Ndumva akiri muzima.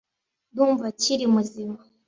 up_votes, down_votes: 2, 0